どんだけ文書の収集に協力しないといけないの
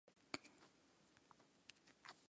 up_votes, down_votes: 0, 2